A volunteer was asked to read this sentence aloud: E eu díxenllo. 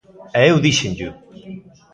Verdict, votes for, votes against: rejected, 1, 2